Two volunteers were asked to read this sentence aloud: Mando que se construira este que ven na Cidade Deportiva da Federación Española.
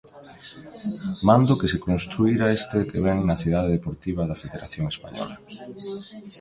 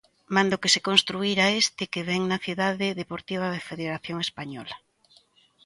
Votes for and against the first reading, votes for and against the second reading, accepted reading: 1, 2, 2, 0, second